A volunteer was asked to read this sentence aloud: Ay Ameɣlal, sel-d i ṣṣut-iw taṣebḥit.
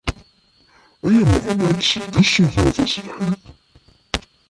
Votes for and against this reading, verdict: 0, 2, rejected